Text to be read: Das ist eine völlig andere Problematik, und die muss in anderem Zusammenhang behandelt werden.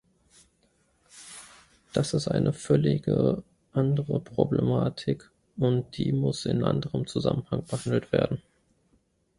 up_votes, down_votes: 0, 2